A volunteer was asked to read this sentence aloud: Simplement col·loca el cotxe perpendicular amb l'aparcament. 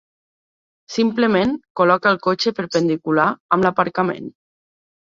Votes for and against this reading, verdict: 0, 2, rejected